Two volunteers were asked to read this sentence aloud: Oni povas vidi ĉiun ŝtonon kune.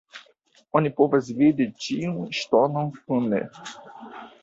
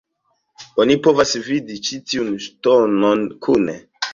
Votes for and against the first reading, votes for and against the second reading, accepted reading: 2, 0, 1, 2, first